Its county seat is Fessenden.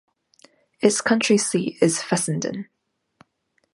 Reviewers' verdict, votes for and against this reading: rejected, 0, 2